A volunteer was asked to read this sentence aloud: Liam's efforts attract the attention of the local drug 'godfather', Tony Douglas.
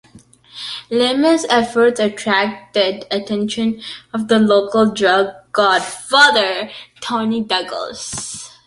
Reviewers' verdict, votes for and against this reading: rejected, 1, 2